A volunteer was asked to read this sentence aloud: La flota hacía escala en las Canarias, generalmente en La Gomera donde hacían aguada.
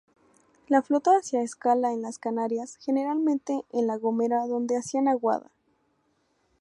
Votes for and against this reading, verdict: 2, 0, accepted